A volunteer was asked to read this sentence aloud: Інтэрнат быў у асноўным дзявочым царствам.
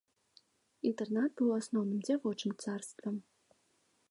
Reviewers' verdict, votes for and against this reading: accepted, 2, 0